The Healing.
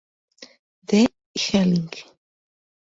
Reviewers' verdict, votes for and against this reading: rejected, 0, 2